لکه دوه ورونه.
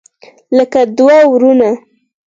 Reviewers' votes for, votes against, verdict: 4, 0, accepted